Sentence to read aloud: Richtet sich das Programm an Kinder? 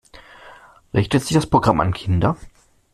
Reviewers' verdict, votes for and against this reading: accepted, 2, 0